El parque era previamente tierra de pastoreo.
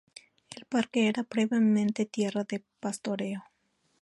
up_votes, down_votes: 2, 0